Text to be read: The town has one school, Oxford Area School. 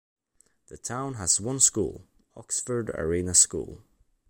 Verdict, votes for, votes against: rejected, 0, 2